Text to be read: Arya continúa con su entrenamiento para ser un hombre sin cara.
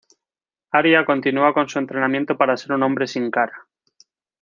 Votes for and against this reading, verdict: 2, 0, accepted